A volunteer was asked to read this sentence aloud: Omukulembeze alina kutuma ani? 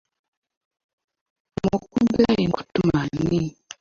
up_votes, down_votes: 0, 2